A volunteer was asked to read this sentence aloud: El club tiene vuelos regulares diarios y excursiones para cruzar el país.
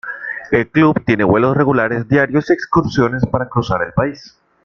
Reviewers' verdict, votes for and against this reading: rejected, 0, 2